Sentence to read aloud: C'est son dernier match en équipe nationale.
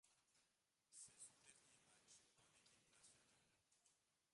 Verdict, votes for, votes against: rejected, 0, 2